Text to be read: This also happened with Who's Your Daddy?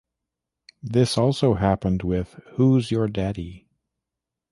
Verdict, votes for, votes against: accepted, 2, 0